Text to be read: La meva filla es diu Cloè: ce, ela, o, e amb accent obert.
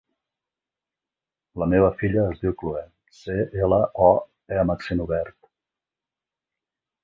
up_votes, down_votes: 2, 0